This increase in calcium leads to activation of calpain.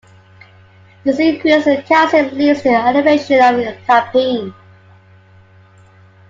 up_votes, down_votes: 1, 2